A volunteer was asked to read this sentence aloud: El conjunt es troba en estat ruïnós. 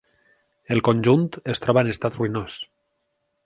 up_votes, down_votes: 4, 0